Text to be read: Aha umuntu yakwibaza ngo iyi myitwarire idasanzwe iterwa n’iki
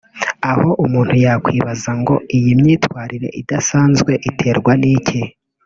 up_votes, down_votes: 1, 2